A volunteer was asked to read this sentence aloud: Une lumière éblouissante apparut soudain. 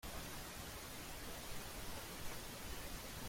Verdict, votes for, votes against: rejected, 0, 2